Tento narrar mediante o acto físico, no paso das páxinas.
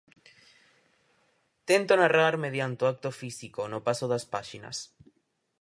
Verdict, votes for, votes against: accepted, 4, 0